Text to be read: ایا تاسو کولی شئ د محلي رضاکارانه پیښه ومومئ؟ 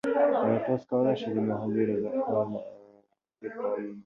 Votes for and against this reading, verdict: 1, 2, rejected